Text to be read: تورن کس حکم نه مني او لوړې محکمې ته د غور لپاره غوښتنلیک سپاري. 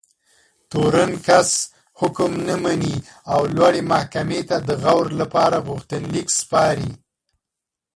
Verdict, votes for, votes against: accepted, 3, 2